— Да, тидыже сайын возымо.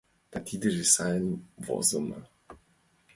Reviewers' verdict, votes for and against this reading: accepted, 2, 1